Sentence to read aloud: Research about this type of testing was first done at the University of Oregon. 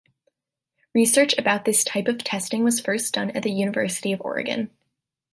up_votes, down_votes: 2, 0